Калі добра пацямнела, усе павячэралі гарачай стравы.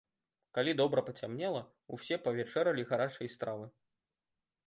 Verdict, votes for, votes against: rejected, 1, 2